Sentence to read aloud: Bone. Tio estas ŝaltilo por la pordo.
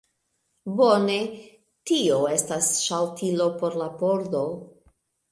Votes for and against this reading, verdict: 0, 2, rejected